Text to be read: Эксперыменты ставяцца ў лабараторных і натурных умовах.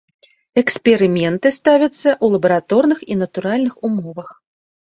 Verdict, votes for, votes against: accepted, 3, 1